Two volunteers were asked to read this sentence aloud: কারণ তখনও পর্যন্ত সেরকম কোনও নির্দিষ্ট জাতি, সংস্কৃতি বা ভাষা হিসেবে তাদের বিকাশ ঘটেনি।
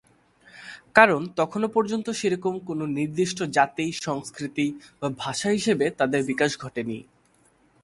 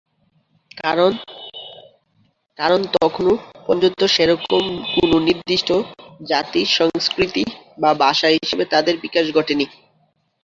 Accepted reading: first